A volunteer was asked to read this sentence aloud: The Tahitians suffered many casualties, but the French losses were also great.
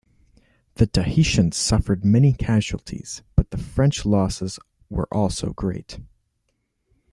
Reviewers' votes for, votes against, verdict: 2, 0, accepted